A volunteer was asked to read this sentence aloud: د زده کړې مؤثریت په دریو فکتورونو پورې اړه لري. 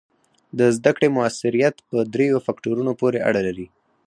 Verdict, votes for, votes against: rejected, 2, 4